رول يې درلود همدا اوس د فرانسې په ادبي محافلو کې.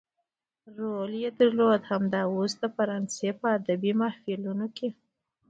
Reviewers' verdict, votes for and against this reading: rejected, 0, 2